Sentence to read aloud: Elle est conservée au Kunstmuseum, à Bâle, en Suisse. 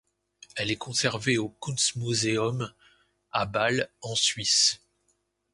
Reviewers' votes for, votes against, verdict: 2, 0, accepted